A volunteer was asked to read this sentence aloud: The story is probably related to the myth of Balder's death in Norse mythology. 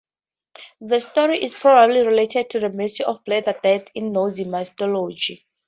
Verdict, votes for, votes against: rejected, 2, 2